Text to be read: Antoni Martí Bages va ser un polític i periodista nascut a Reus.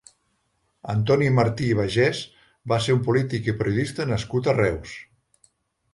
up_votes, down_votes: 0, 2